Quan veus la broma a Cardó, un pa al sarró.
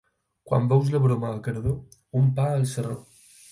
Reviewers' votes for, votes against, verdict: 4, 0, accepted